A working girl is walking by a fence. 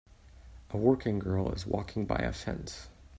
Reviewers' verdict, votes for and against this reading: accepted, 2, 1